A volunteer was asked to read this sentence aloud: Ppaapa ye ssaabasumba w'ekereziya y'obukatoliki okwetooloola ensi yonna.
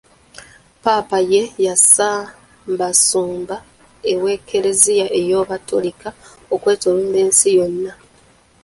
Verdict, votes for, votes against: rejected, 0, 2